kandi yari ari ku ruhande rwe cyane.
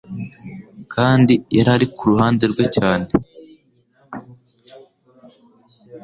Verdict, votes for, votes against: accepted, 2, 0